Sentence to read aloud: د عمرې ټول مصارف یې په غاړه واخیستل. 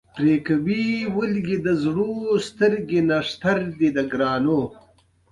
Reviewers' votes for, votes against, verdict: 1, 2, rejected